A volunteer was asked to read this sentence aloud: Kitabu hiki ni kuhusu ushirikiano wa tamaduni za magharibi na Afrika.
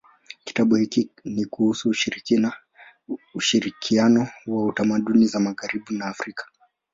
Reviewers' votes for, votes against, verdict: 2, 0, accepted